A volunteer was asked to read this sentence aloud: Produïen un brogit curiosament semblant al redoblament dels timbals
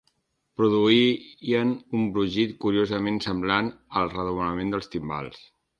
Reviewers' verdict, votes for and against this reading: rejected, 1, 2